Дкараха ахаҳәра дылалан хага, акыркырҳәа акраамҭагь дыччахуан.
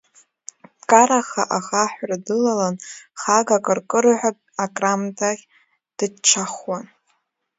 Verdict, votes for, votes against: rejected, 0, 2